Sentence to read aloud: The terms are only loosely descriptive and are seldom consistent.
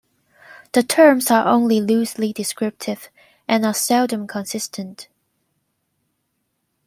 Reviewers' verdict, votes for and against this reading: accepted, 2, 0